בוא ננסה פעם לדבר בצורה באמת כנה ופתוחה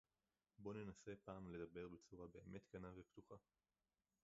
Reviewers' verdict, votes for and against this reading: rejected, 0, 2